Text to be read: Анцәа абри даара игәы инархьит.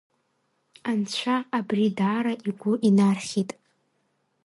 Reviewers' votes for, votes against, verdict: 2, 0, accepted